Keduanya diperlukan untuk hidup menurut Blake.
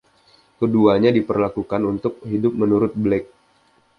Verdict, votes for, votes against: rejected, 0, 2